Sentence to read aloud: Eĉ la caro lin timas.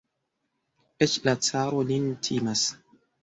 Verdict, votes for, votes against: accepted, 2, 1